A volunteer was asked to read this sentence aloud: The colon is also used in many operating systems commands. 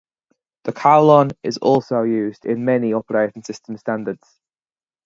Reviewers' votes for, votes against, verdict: 0, 4, rejected